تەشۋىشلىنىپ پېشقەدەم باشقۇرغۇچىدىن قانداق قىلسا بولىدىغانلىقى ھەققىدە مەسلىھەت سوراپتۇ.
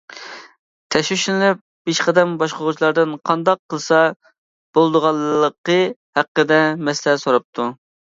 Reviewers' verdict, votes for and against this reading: rejected, 0, 2